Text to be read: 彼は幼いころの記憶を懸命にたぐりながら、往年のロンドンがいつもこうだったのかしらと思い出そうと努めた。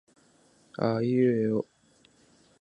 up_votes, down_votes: 1, 2